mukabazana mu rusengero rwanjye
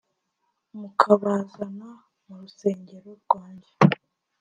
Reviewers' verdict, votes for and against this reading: accepted, 2, 0